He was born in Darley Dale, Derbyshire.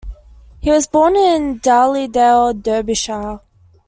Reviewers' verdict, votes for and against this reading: rejected, 0, 2